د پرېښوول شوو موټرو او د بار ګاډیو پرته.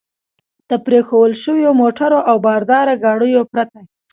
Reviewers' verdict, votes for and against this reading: accepted, 2, 0